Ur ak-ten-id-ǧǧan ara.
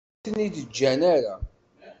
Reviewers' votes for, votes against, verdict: 1, 2, rejected